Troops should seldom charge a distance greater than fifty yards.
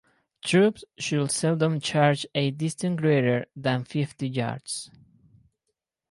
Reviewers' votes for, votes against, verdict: 2, 0, accepted